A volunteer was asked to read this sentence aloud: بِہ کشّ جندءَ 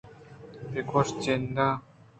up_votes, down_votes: 1, 2